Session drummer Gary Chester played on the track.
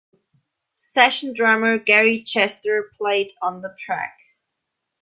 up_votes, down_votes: 2, 0